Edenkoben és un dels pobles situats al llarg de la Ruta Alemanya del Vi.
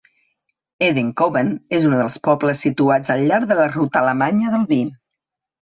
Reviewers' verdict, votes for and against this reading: accepted, 2, 1